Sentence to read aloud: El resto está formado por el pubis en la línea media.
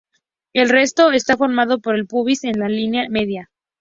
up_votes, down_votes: 2, 0